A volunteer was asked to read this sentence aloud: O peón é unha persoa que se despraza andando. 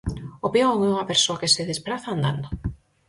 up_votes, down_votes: 4, 0